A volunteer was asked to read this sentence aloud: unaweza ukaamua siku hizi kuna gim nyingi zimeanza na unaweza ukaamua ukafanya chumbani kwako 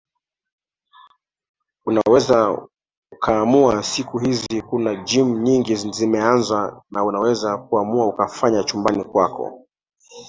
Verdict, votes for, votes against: rejected, 1, 2